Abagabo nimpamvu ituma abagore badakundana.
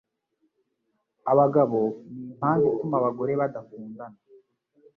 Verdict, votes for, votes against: accepted, 2, 0